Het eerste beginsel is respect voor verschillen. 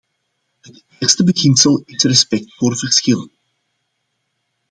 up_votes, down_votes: 1, 2